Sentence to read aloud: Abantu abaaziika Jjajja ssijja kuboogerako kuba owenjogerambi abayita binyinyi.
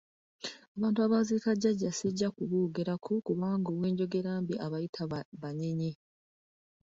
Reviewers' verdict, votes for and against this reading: rejected, 0, 2